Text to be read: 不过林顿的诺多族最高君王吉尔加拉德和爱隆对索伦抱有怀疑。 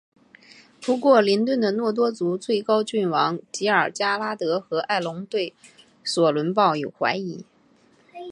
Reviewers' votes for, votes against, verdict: 4, 1, accepted